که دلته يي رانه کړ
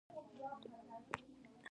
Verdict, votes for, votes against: rejected, 0, 2